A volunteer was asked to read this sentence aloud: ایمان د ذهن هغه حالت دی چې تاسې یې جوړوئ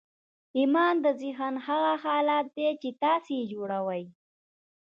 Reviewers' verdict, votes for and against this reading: accepted, 3, 0